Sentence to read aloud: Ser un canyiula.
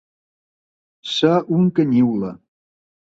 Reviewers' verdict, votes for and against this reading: accepted, 2, 0